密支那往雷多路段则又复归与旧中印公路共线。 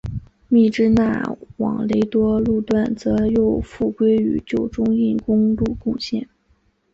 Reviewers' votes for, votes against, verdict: 3, 0, accepted